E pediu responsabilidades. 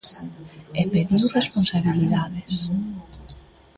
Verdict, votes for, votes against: rejected, 0, 2